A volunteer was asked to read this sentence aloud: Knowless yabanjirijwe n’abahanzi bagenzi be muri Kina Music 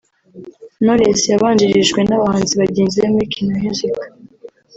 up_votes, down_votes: 2, 0